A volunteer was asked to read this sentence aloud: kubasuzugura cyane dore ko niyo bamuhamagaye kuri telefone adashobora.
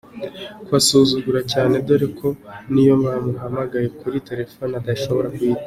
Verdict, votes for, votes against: accepted, 2, 0